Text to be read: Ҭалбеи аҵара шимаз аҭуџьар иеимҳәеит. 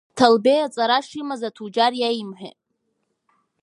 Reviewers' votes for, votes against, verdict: 4, 2, accepted